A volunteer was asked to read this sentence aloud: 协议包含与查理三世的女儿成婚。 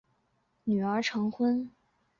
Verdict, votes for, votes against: rejected, 0, 3